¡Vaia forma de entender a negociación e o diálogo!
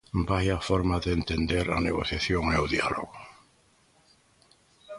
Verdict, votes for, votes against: accepted, 2, 0